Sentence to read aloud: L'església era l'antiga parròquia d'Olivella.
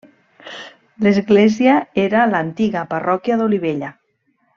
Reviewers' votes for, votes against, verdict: 3, 0, accepted